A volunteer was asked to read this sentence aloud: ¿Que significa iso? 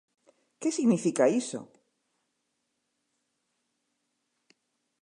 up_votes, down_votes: 2, 0